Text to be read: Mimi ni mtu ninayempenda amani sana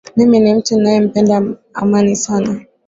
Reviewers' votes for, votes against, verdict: 2, 0, accepted